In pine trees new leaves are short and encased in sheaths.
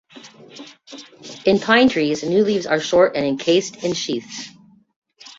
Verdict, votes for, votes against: accepted, 2, 0